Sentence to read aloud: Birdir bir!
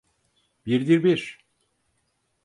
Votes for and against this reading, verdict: 4, 0, accepted